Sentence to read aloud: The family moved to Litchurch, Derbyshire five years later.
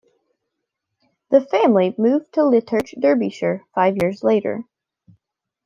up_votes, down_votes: 2, 1